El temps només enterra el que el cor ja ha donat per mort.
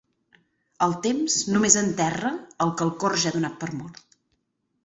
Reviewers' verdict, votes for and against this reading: accepted, 6, 0